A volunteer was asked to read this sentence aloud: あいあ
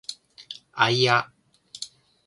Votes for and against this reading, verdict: 0, 2, rejected